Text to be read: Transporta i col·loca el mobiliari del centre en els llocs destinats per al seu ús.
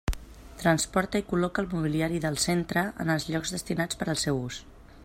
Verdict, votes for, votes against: accepted, 3, 0